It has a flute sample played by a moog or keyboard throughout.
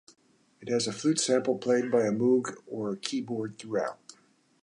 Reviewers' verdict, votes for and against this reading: accepted, 2, 0